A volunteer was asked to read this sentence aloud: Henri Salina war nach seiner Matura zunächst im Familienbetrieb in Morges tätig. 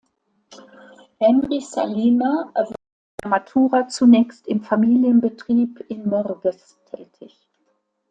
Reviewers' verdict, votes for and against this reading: rejected, 0, 2